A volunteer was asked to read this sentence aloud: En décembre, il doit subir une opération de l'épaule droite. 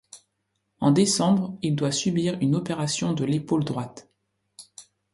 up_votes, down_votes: 2, 0